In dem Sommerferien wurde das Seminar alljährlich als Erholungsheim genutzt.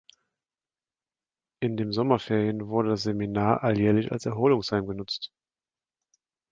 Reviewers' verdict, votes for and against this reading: accepted, 2, 0